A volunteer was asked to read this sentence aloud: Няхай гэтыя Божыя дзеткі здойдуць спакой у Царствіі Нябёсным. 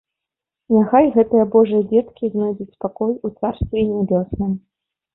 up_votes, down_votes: 0, 3